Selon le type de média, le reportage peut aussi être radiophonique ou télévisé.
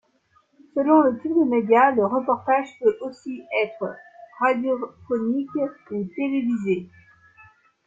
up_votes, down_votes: 0, 3